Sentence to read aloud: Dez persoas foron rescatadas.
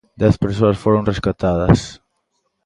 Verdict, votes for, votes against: accepted, 2, 0